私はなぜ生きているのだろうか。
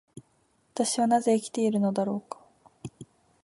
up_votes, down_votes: 2, 0